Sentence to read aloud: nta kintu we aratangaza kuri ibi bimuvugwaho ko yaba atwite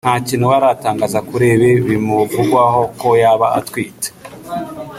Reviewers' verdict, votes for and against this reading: accepted, 2, 1